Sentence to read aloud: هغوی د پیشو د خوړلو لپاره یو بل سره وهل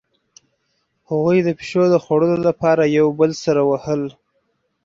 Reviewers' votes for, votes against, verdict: 4, 0, accepted